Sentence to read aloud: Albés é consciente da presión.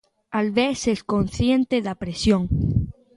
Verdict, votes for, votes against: accepted, 2, 1